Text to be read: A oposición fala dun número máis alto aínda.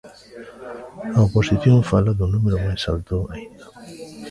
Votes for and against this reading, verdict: 2, 0, accepted